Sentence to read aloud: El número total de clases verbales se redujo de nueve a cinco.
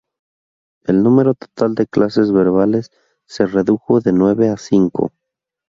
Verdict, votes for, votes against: accepted, 4, 0